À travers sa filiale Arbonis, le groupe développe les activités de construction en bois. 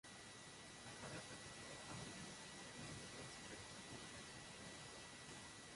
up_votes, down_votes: 0, 2